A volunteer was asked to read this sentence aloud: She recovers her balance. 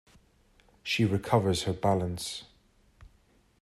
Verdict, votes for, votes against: accepted, 2, 0